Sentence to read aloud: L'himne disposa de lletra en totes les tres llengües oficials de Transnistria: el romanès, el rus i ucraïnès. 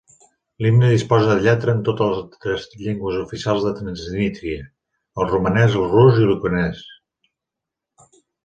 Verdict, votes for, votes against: rejected, 0, 2